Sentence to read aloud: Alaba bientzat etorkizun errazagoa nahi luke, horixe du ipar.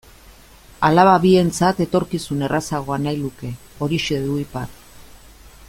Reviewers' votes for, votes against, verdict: 2, 0, accepted